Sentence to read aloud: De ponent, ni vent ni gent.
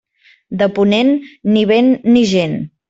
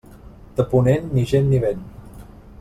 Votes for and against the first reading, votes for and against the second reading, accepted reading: 3, 0, 1, 2, first